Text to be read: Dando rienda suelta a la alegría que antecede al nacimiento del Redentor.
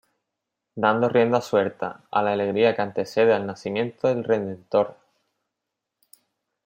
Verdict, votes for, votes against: accepted, 2, 1